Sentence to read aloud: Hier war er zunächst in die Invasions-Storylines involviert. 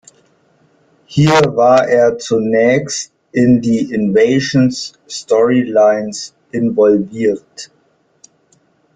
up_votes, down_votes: 3, 1